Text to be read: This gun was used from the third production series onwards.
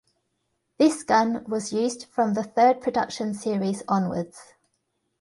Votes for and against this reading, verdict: 2, 0, accepted